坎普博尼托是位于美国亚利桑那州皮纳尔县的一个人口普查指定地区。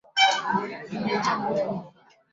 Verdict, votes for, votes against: rejected, 1, 4